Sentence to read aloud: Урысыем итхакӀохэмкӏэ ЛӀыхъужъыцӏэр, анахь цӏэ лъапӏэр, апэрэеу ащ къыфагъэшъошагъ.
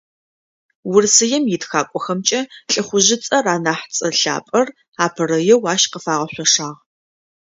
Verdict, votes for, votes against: accepted, 2, 0